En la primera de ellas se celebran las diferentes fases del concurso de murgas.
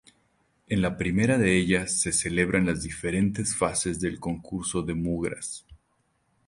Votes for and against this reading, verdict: 0, 2, rejected